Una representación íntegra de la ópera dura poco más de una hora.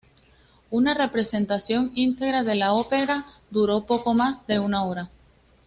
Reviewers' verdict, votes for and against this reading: rejected, 0, 2